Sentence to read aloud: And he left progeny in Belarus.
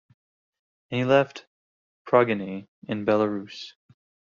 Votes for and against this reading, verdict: 0, 3, rejected